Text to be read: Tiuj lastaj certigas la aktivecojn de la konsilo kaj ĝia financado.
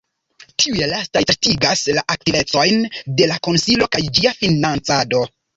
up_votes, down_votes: 0, 2